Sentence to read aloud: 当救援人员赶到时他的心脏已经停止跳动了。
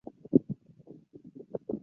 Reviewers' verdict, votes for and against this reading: rejected, 0, 2